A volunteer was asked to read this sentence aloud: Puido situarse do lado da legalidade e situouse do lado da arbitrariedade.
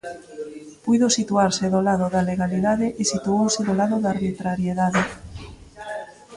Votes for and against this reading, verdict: 1, 2, rejected